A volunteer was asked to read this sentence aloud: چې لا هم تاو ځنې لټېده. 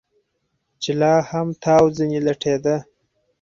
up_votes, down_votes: 4, 0